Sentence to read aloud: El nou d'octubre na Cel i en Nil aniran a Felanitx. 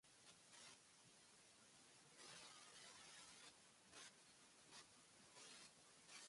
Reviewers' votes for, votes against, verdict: 0, 2, rejected